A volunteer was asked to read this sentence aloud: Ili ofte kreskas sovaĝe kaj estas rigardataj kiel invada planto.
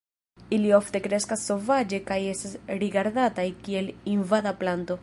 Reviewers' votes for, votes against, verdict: 0, 2, rejected